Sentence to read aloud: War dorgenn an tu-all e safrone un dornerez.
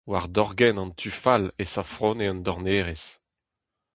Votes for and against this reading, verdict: 0, 2, rejected